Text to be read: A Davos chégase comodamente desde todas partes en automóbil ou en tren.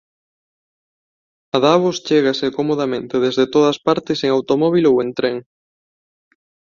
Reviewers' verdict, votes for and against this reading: accepted, 2, 0